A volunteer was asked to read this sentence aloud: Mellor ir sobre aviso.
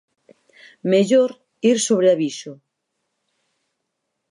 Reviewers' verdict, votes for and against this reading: accepted, 4, 0